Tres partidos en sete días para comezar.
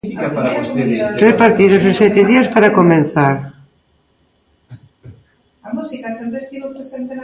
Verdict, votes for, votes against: rejected, 0, 2